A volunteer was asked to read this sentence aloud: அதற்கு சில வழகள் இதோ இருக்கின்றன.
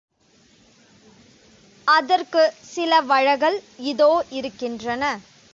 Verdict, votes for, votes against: rejected, 1, 2